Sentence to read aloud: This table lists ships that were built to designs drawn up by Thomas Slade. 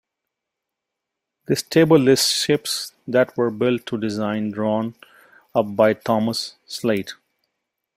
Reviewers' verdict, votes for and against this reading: rejected, 1, 2